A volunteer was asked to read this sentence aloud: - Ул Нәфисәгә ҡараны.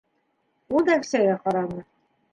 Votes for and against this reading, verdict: 1, 2, rejected